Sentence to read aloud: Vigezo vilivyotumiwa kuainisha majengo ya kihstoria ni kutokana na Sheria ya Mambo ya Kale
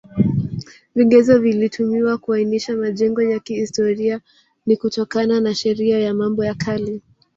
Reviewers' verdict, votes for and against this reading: rejected, 1, 2